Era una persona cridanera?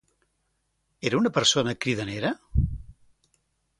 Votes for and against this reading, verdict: 2, 0, accepted